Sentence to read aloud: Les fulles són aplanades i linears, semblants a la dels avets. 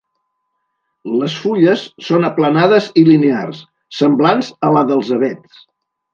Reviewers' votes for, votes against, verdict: 3, 0, accepted